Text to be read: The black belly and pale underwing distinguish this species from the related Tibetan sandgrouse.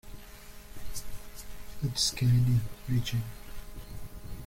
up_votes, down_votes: 0, 2